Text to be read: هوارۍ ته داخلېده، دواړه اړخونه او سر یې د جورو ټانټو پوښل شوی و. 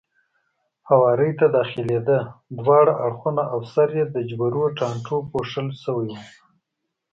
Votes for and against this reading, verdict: 2, 0, accepted